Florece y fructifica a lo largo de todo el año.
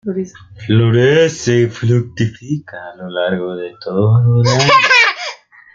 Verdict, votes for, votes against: rejected, 0, 2